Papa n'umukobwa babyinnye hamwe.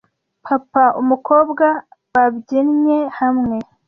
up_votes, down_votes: 1, 2